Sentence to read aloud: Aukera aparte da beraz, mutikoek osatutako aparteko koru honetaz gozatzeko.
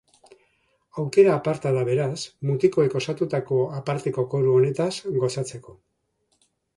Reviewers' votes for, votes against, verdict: 0, 2, rejected